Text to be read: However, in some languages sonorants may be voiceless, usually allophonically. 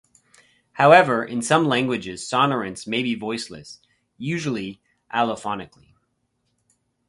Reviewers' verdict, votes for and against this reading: accepted, 2, 0